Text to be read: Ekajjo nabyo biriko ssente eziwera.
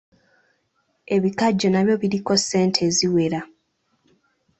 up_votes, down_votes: 0, 2